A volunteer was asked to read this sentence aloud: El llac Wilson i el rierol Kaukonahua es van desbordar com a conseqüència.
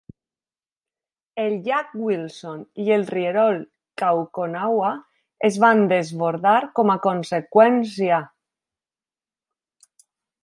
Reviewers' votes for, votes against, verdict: 2, 0, accepted